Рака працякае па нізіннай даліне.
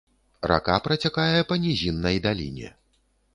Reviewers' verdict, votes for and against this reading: accepted, 2, 0